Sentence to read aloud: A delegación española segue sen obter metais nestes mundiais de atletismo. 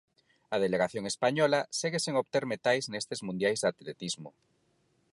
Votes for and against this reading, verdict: 4, 0, accepted